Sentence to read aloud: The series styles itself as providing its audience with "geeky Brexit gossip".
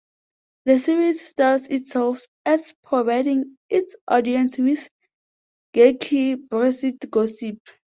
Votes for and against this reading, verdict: 2, 1, accepted